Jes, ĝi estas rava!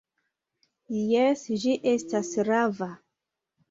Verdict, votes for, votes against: accepted, 2, 0